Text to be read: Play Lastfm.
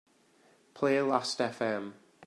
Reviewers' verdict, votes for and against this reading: accepted, 2, 0